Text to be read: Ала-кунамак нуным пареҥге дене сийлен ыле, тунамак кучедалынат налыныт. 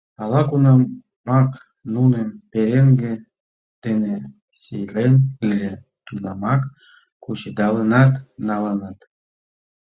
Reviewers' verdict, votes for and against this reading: accepted, 2, 1